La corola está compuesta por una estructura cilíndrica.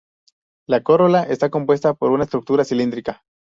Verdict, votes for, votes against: rejected, 2, 2